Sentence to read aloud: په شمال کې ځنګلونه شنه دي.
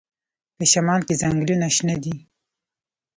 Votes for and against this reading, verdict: 0, 2, rejected